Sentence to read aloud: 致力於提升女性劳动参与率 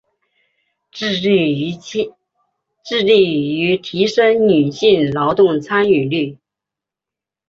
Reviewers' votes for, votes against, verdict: 3, 0, accepted